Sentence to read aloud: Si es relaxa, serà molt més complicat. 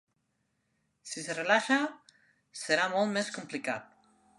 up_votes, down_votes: 0, 2